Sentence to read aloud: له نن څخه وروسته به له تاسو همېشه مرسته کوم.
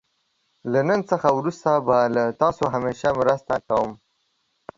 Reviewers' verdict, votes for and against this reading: accepted, 2, 0